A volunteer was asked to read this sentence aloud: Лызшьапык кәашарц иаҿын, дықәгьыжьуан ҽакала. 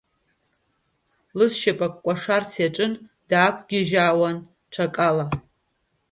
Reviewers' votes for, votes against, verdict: 2, 0, accepted